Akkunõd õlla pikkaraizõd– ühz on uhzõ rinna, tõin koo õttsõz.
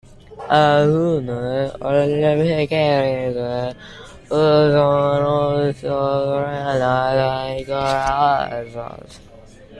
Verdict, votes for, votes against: rejected, 0, 2